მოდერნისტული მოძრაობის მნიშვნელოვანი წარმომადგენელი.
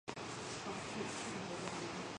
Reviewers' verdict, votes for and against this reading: rejected, 0, 2